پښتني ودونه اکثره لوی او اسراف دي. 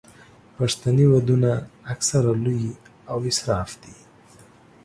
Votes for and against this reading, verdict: 2, 0, accepted